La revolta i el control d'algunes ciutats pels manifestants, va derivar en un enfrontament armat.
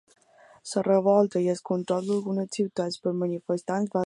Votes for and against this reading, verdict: 0, 2, rejected